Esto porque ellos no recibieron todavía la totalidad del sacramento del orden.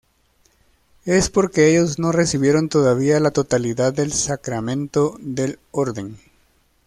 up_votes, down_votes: 2, 1